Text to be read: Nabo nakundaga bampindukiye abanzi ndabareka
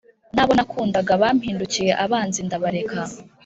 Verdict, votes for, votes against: accepted, 3, 0